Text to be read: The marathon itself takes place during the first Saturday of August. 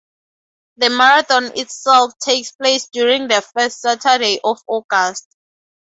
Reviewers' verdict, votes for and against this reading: accepted, 2, 0